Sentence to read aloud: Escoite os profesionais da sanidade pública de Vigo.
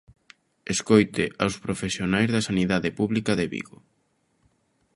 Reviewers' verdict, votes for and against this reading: rejected, 1, 2